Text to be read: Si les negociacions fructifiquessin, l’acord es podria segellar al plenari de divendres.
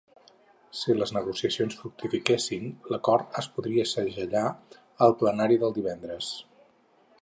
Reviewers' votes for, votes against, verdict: 0, 6, rejected